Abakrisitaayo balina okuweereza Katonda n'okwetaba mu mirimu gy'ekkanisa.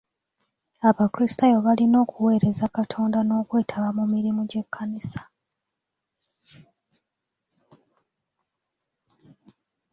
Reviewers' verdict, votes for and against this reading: accepted, 2, 0